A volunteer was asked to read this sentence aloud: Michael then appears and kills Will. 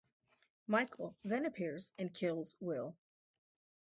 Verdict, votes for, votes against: accepted, 4, 0